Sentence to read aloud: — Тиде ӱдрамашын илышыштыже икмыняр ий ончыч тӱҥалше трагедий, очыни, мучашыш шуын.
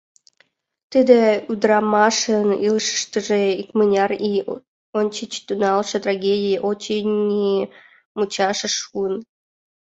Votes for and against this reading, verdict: 2, 1, accepted